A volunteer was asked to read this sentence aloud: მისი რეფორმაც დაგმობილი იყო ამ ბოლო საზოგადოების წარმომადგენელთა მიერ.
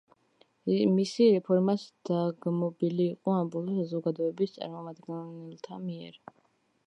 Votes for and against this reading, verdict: 0, 2, rejected